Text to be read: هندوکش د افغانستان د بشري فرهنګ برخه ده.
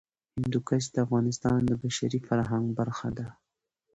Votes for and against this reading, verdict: 2, 0, accepted